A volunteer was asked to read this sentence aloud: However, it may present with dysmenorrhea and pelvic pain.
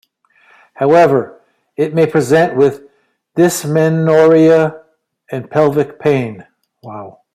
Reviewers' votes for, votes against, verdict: 1, 2, rejected